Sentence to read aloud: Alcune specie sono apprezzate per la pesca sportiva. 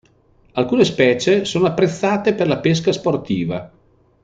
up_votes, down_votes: 2, 0